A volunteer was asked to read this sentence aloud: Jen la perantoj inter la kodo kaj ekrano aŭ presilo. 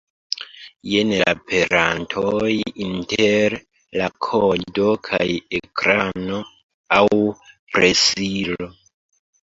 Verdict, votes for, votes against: rejected, 1, 2